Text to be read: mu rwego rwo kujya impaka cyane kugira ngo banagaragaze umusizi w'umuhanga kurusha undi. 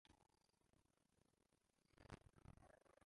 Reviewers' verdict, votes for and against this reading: rejected, 0, 2